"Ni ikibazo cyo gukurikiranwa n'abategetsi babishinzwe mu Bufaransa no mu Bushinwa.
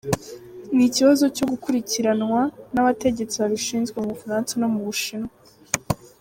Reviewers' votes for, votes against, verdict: 2, 0, accepted